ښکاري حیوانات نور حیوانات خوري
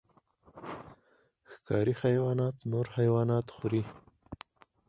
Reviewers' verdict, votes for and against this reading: accepted, 4, 0